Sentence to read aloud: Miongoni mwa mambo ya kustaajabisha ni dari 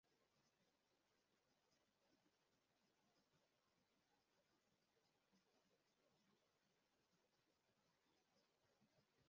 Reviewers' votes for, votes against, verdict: 0, 2, rejected